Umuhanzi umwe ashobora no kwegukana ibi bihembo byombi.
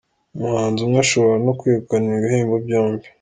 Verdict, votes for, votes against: accepted, 3, 0